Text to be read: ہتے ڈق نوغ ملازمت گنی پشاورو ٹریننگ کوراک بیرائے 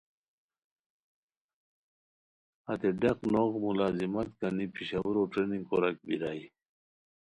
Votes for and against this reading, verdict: 2, 0, accepted